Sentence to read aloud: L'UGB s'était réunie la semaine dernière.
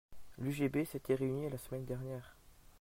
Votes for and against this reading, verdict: 2, 0, accepted